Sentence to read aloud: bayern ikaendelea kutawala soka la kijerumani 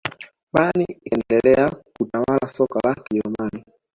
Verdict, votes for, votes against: rejected, 0, 2